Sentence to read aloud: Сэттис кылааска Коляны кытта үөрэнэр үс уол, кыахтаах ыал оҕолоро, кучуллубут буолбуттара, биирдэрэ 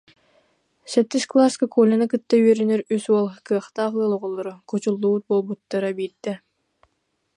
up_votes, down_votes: 2, 1